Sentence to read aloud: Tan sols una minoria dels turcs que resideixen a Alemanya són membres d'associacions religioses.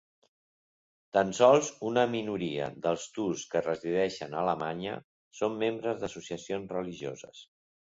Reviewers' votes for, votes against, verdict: 2, 0, accepted